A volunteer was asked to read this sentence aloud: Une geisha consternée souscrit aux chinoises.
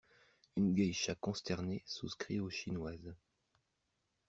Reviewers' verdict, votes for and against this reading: accepted, 2, 0